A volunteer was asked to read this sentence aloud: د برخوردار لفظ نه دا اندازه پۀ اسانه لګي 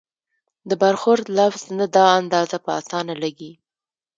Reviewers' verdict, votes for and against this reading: rejected, 0, 2